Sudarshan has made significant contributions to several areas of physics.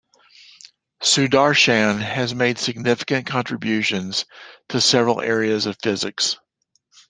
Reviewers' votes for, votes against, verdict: 2, 0, accepted